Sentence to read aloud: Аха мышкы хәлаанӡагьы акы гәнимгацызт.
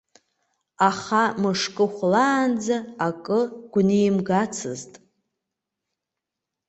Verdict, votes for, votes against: rejected, 1, 2